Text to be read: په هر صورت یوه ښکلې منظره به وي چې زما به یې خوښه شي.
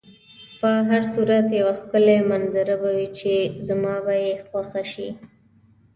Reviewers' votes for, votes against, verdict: 2, 0, accepted